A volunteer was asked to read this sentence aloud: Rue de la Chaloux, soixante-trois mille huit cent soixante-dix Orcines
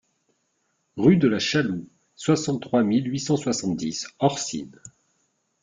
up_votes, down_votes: 2, 0